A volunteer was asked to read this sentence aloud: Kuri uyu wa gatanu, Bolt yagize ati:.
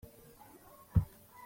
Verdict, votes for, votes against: rejected, 0, 2